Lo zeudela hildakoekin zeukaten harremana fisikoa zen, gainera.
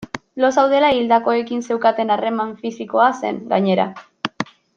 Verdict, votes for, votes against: rejected, 1, 2